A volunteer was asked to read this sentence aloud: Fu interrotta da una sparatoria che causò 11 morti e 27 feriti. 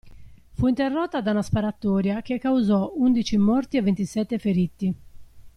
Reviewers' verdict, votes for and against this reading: rejected, 0, 2